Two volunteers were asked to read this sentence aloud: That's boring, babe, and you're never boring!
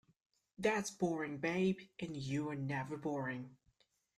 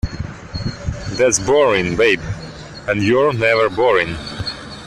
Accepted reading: second